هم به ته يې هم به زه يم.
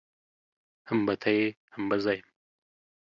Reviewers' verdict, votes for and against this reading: rejected, 0, 2